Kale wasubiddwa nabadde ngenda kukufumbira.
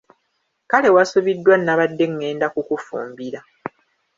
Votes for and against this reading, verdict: 0, 2, rejected